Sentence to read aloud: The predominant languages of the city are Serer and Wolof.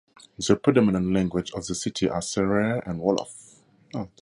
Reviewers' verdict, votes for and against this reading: rejected, 2, 4